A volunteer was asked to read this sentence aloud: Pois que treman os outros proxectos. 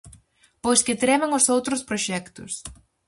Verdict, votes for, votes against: accepted, 4, 0